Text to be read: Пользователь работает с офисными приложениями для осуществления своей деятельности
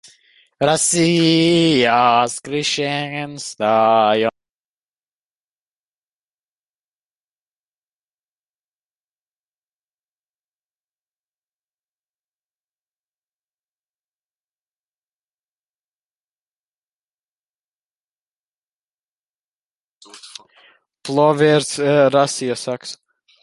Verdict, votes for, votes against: rejected, 0, 2